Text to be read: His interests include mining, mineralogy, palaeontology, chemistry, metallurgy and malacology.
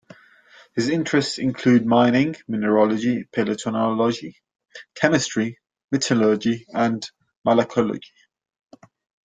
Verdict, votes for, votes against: rejected, 1, 2